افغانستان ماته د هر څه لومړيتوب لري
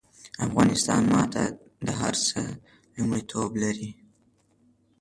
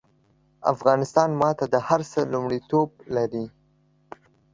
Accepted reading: second